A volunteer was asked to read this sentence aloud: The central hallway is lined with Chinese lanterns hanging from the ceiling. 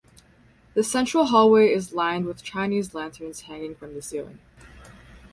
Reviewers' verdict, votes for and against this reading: accepted, 4, 0